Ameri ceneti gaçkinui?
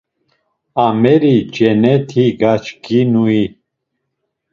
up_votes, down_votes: 2, 0